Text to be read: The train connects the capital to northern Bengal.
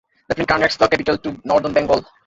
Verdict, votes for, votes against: rejected, 0, 2